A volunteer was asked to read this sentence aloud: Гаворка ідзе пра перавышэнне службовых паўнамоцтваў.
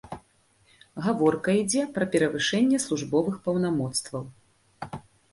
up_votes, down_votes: 2, 0